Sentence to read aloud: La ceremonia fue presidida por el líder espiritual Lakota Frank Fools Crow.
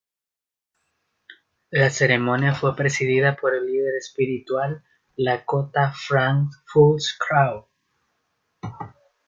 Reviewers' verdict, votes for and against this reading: accepted, 2, 0